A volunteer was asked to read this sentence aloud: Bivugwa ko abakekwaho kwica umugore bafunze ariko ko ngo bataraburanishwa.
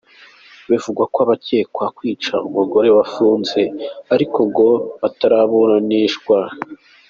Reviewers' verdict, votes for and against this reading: accepted, 2, 0